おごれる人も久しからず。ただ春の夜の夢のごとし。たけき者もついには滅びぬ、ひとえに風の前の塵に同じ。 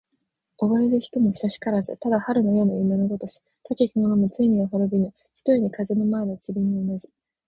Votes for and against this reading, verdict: 0, 4, rejected